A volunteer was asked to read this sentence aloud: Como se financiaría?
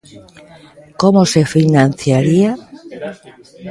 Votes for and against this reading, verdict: 2, 0, accepted